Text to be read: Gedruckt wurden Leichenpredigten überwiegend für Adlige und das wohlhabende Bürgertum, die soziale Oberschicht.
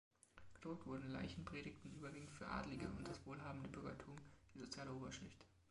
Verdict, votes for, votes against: accepted, 2, 0